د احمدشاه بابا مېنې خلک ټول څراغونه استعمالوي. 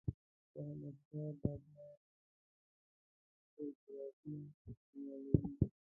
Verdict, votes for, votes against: accepted, 2, 1